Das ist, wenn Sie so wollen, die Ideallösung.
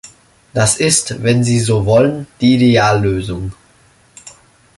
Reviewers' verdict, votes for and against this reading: accepted, 2, 0